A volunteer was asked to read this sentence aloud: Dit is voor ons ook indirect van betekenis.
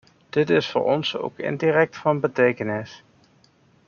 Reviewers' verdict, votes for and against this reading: rejected, 1, 2